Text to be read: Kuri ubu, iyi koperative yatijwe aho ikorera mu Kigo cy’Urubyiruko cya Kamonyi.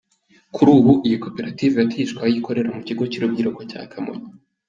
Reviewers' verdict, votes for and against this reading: accepted, 2, 0